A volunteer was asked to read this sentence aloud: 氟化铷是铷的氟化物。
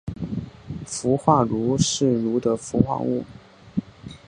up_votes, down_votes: 2, 0